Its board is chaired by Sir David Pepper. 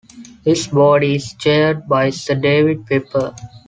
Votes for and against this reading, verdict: 2, 0, accepted